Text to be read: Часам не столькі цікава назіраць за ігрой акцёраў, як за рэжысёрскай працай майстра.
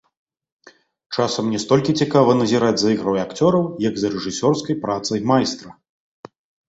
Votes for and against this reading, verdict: 1, 2, rejected